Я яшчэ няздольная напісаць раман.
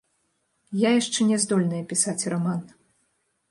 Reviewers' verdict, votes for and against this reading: rejected, 0, 2